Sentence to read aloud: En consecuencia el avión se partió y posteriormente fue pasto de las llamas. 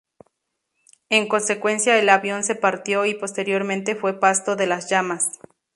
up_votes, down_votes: 2, 0